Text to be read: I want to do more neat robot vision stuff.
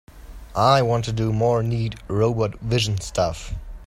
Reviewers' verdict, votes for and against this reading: accepted, 2, 0